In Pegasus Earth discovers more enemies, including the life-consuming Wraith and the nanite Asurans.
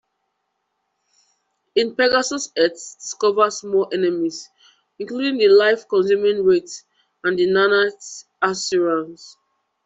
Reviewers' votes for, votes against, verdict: 1, 2, rejected